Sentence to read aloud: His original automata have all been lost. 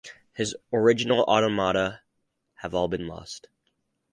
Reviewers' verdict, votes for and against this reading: accepted, 4, 0